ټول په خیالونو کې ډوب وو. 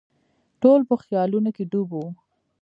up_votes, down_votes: 1, 2